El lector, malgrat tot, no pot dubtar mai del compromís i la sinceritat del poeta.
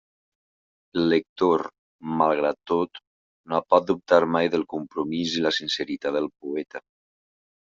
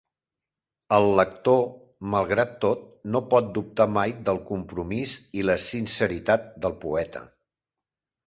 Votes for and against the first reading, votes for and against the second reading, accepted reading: 1, 2, 3, 0, second